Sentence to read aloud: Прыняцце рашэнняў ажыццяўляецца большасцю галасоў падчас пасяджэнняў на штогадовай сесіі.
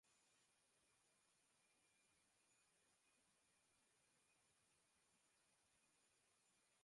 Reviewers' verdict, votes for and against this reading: rejected, 0, 2